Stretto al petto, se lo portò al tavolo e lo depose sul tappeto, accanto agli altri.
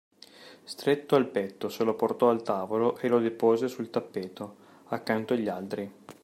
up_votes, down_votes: 2, 1